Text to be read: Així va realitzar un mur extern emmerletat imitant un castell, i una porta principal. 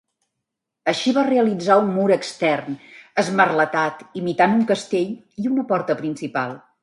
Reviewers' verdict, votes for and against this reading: rejected, 1, 2